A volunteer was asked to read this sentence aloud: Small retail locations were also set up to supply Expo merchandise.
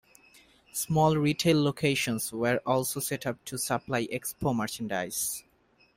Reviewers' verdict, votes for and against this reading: accepted, 2, 0